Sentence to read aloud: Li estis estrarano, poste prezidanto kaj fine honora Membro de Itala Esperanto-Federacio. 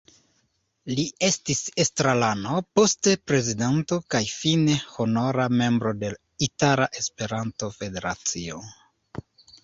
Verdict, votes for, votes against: rejected, 0, 2